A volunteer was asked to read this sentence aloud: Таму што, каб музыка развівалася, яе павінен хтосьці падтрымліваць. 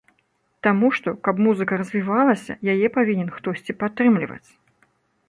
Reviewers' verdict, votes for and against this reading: accepted, 2, 0